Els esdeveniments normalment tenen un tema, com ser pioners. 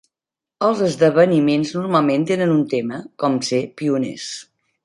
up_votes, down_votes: 3, 0